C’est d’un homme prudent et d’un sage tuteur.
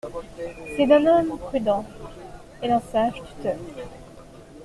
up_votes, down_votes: 2, 0